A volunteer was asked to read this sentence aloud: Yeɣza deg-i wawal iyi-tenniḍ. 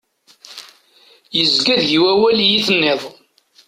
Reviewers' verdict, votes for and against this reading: rejected, 1, 2